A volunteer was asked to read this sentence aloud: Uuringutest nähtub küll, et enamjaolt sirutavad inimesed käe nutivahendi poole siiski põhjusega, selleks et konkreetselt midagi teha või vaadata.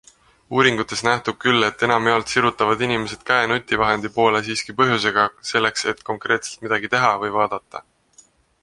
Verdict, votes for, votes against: accepted, 2, 0